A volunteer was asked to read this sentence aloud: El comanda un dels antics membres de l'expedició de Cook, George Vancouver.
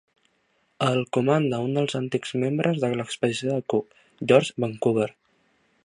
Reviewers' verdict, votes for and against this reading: accepted, 3, 0